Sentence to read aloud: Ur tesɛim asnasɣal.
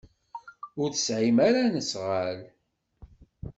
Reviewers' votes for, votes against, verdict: 1, 2, rejected